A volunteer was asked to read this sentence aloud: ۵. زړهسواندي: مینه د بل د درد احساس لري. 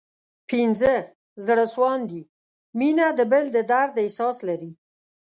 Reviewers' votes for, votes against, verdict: 0, 2, rejected